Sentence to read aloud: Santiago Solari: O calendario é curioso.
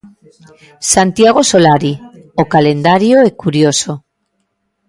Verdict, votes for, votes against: accepted, 2, 1